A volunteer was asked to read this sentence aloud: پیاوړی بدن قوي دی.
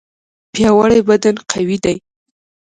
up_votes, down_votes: 2, 0